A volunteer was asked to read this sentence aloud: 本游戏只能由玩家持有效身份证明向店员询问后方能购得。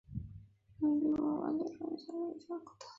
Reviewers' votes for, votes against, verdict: 0, 2, rejected